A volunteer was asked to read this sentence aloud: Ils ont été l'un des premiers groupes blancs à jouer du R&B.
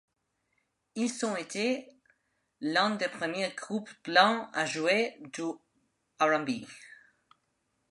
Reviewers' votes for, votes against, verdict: 2, 1, accepted